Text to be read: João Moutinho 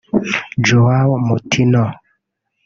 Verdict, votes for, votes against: rejected, 1, 2